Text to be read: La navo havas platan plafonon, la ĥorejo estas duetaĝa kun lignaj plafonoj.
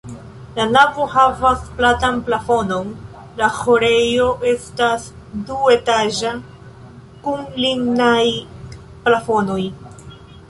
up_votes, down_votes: 0, 2